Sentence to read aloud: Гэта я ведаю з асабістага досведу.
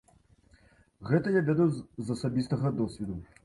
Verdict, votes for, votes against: rejected, 1, 2